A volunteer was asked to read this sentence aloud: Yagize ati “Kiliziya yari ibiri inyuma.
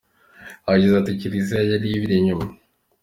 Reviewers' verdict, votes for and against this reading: accepted, 2, 0